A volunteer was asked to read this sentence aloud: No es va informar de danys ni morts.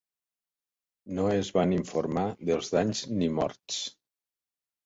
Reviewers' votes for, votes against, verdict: 0, 2, rejected